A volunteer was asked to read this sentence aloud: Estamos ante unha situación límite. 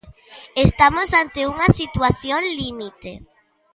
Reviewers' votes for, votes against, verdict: 2, 0, accepted